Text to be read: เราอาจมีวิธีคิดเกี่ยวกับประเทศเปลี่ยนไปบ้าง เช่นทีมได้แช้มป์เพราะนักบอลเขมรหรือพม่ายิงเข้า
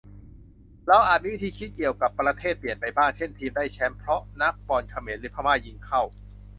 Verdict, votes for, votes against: accepted, 2, 0